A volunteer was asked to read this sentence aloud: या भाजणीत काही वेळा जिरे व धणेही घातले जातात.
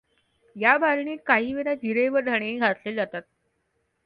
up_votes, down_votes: 2, 0